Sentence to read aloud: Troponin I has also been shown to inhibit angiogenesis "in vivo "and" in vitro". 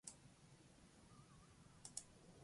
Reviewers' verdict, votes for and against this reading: rejected, 0, 2